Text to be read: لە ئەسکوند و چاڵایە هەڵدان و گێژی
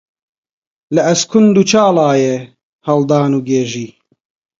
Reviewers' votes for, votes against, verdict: 2, 2, rejected